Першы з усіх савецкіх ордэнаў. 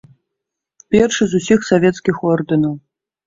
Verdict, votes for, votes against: accepted, 2, 0